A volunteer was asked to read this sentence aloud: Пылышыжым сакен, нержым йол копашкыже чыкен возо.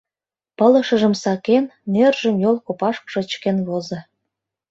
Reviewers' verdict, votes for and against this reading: accepted, 2, 0